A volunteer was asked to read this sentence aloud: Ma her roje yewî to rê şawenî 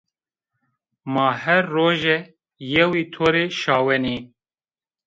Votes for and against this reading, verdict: 1, 2, rejected